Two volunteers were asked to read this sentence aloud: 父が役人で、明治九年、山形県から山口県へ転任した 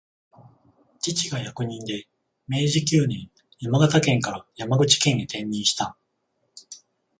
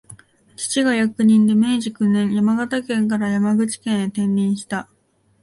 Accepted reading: second